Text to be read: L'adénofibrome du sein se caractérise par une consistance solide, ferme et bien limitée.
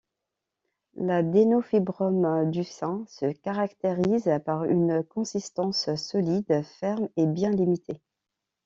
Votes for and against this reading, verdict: 2, 0, accepted